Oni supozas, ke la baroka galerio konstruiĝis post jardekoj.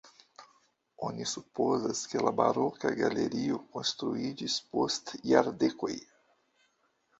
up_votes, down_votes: 1, 2